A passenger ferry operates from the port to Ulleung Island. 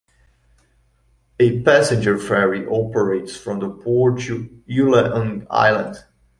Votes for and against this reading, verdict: 1, 2, rejected